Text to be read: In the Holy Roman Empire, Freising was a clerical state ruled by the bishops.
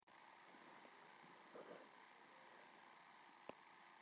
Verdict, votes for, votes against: rejected, 1, 2